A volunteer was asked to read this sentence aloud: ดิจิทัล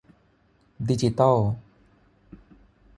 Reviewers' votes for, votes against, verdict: 3, 6, rejected